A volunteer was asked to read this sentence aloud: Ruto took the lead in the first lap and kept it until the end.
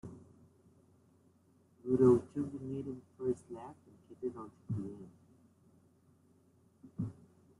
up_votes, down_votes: 0, 2